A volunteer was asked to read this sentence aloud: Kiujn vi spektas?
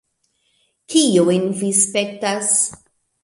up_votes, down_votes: 2, 0